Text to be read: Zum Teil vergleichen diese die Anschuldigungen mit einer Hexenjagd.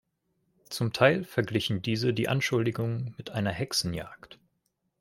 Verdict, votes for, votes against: rejected, 1, 2